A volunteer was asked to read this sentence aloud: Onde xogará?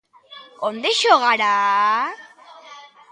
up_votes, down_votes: 0, 2